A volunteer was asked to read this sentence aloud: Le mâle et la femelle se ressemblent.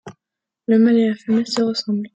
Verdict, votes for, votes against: accepted, 2, 1